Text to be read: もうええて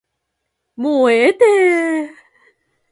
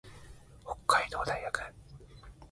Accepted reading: first